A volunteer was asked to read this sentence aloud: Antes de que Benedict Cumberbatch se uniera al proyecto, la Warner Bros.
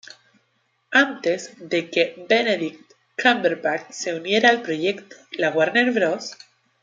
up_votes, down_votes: 0, 2